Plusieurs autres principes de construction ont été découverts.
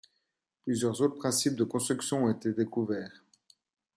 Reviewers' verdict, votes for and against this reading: accepted, 2, 0